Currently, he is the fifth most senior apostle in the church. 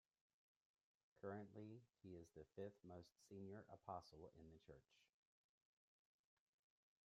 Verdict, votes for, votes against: rejected, 1, 2